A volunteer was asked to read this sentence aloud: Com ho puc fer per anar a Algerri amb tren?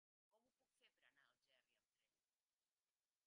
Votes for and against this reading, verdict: 0, 2, rejected